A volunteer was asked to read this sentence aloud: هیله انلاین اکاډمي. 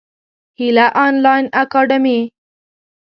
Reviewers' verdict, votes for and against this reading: accepted, 2, 0